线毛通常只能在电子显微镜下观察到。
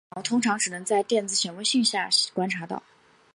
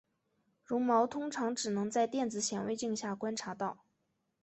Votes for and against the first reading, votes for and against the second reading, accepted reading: 2, 1, 2, 2, first